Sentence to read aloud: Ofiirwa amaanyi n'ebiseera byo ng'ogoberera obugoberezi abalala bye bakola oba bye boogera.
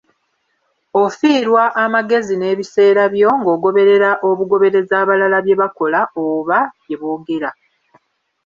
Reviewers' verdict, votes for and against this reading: rejected, 0, 2